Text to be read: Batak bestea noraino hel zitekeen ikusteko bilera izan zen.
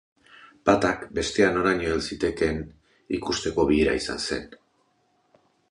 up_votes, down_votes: 2, 0